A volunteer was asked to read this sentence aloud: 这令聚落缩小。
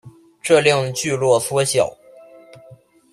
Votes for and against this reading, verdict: 2, 0, accepted